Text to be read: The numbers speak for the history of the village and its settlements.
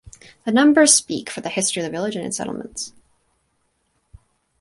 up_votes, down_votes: 2, 2